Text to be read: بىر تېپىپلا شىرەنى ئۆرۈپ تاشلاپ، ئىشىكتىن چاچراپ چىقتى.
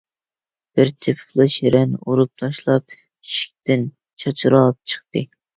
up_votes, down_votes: 0, 2